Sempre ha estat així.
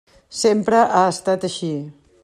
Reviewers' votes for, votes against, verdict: 3, 0, accepted